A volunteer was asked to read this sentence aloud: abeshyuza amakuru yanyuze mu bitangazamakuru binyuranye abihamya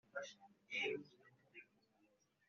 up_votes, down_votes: 0, 2